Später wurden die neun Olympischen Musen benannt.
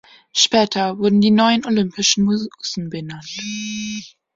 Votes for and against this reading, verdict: 0, 2, rejected